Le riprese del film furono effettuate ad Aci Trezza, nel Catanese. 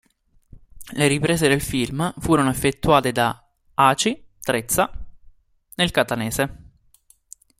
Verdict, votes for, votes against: rejected, 0, 2